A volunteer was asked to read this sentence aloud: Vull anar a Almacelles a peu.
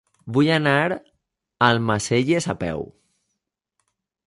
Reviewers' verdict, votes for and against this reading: accepted, 2, 0